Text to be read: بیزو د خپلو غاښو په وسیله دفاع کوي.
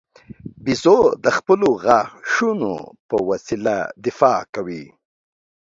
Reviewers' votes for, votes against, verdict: 1, 3, rejected